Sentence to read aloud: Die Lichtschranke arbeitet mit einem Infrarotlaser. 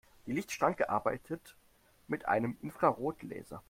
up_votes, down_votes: 0, 2